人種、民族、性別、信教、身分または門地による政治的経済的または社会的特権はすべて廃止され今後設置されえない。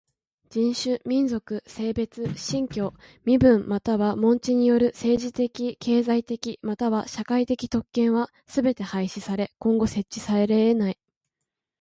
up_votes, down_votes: 0, 2